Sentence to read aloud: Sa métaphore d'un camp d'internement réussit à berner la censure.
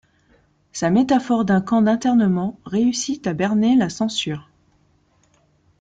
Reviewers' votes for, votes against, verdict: 2, 0, accepted